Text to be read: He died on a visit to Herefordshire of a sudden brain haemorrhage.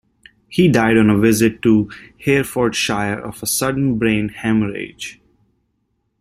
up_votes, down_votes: 1, 2